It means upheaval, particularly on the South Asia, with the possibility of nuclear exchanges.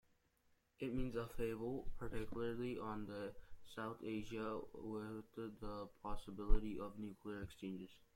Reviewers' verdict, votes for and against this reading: accepted, 2, 0